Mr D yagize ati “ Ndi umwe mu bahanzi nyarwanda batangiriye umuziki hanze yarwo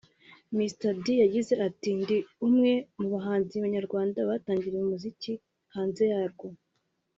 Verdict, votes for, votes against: accepted, 2, 0